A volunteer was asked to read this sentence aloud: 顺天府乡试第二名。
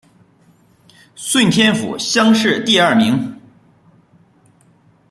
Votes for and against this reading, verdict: 0, 2, rejected